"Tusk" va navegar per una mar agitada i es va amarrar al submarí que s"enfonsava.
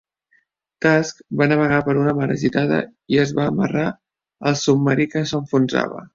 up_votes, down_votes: 2, 1